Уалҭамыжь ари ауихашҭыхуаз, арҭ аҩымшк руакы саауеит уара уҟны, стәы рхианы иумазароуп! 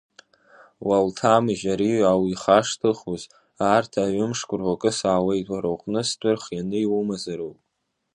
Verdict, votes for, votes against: rejected, 1, 2